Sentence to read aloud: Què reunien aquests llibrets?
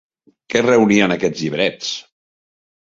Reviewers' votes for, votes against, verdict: 3, 0, accepted